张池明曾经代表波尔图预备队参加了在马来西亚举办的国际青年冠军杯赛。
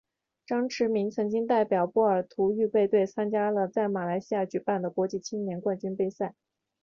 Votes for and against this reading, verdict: 1, 2, rejected